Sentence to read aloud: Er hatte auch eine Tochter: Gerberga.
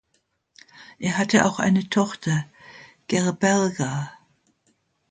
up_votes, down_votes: 2, 0